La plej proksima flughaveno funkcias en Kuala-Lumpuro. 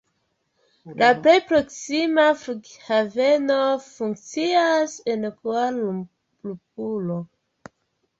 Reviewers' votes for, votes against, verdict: 1, 2, rejected